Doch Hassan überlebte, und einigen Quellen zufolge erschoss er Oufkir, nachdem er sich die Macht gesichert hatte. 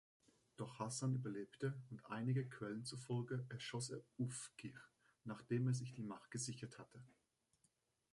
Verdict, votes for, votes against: accepted, 2, 1